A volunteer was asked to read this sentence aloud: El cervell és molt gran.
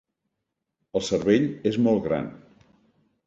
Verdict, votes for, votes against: accepted, 2, 0